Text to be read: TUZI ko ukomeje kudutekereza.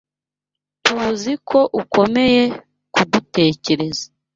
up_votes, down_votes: 1, 2